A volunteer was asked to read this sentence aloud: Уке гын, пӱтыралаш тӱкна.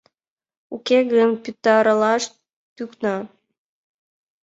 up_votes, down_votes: 1, 2